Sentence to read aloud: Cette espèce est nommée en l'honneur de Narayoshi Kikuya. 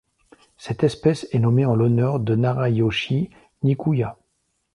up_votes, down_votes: 1, 2